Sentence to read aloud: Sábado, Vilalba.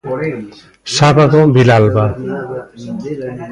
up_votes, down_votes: 0, 2